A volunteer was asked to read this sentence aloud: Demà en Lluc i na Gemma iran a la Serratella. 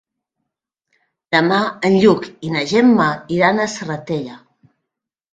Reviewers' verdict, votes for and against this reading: rejected, 0, 2